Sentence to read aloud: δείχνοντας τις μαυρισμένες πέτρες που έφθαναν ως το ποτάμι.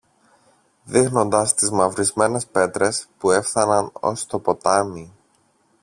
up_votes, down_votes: 2, 0